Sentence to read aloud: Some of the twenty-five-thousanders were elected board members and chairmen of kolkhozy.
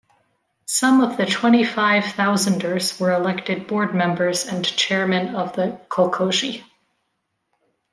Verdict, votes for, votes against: rejected, 1, 2